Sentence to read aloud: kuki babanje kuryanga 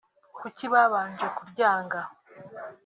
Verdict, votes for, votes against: accepted, 2, 0